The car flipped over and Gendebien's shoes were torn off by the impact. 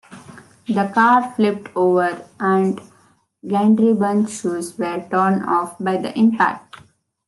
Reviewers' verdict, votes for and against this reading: rejected, 1, 2